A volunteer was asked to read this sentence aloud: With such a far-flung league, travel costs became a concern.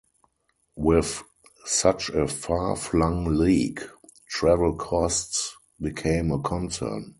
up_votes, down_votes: 2, 0